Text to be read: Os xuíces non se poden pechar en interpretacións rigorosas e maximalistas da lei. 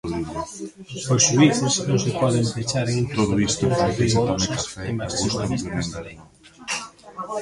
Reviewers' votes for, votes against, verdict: 0, 2, rejected